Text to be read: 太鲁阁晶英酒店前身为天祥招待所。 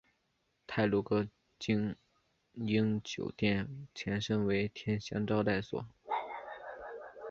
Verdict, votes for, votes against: accepted, 2, 0